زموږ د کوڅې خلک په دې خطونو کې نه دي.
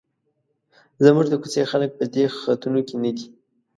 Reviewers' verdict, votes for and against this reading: accepted, 2, 0